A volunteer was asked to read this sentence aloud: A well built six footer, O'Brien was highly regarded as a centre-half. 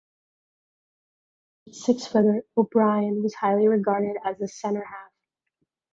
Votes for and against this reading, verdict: 0, 2, rejected